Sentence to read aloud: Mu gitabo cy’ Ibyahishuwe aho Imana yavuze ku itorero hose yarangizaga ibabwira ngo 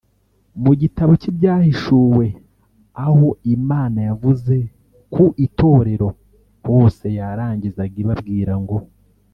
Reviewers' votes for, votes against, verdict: 1, 2, rejected